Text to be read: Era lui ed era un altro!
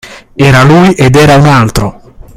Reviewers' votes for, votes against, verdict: 2, 0, accepted